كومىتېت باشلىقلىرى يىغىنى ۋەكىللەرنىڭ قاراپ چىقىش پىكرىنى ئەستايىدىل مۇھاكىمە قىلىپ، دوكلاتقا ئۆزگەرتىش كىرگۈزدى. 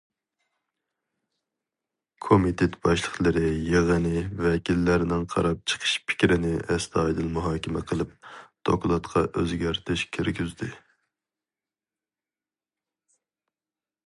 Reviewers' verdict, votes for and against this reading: accepted, 2, 0